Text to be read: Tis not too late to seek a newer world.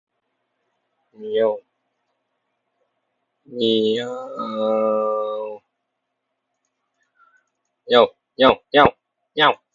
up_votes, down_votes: 0, 2